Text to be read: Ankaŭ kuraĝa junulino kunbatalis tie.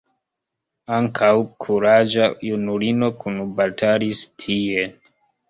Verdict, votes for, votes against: accepted, 2, 1